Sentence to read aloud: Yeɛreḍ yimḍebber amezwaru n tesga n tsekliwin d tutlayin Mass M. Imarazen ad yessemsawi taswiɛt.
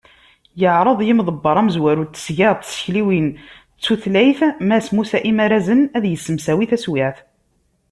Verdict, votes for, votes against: rejected, 0, 2